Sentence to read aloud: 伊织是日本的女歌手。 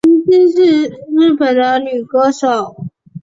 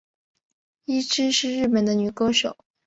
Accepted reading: second